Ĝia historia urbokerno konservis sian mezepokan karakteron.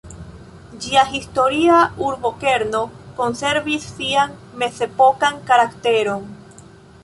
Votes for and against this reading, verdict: 2, 1, accepted